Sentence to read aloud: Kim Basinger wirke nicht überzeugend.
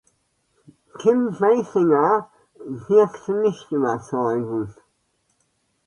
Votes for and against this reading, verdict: 0, 2, rejected